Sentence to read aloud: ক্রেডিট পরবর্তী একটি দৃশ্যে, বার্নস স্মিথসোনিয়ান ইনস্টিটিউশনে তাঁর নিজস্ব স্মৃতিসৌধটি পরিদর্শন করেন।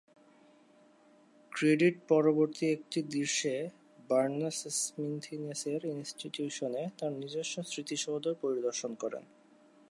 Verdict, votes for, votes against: rejected, 1, 2